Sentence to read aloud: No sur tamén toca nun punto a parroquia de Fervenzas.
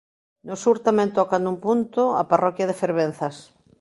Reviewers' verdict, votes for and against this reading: accepted, 2, 0